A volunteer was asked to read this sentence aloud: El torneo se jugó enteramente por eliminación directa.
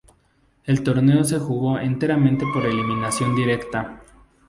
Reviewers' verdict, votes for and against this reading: rejected, 0, 2